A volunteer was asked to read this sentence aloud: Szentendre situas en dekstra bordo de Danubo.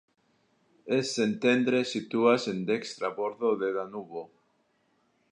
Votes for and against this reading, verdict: 2, 1, accepted